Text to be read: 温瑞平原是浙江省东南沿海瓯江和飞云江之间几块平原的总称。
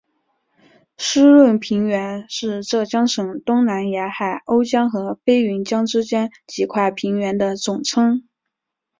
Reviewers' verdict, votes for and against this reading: rejected, 2, 3